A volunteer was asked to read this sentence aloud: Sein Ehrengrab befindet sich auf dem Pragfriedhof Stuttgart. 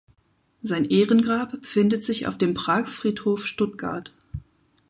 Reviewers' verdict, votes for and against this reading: accepted, 4, 0